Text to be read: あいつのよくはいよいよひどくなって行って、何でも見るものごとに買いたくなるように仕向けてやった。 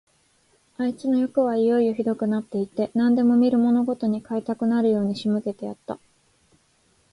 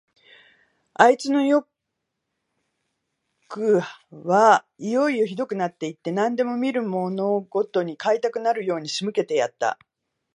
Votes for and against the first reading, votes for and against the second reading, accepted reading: 2, 0, 1, 2, first